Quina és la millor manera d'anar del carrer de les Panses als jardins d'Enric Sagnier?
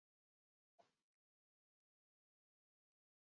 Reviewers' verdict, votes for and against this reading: rejected, 2, 3